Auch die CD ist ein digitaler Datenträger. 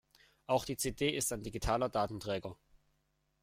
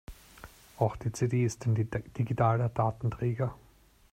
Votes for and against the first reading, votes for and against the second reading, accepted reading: 2, 0, 0, 2, first